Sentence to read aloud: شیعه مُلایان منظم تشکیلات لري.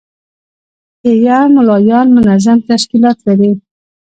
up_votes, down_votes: 0, 2